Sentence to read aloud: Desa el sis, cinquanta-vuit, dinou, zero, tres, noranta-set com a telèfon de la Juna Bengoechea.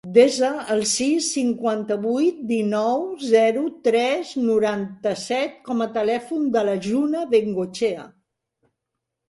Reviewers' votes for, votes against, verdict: 2, 0, accepted